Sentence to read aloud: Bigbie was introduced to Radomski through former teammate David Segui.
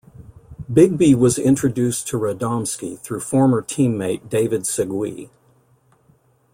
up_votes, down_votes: 2, 0